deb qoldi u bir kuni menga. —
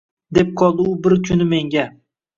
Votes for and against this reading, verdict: 1, 2, rejected